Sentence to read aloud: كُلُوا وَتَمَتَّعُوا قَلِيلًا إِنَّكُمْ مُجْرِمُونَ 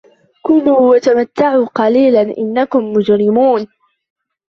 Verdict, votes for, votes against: accepted, 2, 0